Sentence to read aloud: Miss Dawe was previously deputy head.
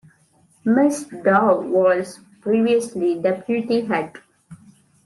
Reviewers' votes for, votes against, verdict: 2, 1, accepted